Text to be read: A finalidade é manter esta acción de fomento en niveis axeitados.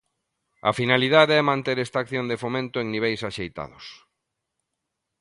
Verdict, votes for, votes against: accepted, 2, 0